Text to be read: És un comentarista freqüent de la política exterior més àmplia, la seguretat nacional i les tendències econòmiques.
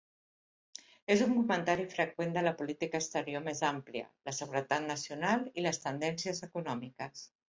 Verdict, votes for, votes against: rejected, 1, 2